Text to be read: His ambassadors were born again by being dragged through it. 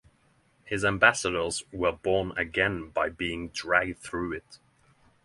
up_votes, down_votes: 6, 0